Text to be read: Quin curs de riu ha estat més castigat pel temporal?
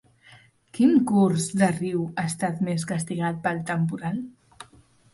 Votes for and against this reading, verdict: 2, 0, accepted